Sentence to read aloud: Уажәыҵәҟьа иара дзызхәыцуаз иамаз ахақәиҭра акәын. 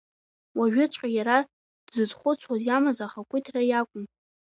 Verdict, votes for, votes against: rejected, 2, 3